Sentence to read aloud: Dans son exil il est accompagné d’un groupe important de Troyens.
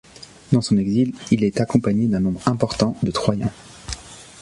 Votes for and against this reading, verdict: 1, 2, rejected